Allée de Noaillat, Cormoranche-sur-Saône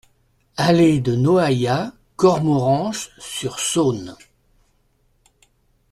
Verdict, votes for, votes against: accepted, 2, 0